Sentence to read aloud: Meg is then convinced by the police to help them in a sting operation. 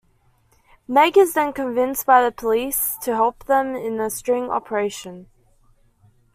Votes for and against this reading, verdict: 1, 2, rejected